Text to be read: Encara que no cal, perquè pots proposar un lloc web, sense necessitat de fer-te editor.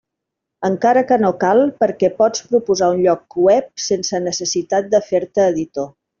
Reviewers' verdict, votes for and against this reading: accepted, 2, 0